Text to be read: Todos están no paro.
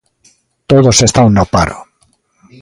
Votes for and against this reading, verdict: 2, 0, accepted